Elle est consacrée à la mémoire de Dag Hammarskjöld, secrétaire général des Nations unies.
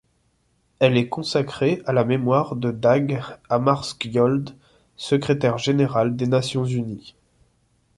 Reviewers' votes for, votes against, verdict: 2, 0, accepted